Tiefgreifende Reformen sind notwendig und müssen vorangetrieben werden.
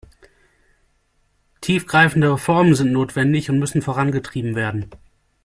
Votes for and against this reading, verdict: 2, 0, accepted